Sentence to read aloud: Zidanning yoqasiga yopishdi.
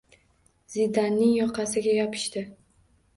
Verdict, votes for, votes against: accepted, 2, 0